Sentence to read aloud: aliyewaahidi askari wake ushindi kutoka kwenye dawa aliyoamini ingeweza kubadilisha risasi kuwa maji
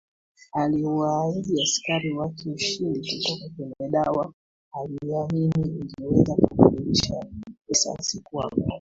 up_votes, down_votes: 2, 1